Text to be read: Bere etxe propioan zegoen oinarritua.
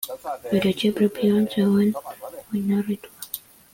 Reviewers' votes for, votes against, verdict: 0, 2, rejected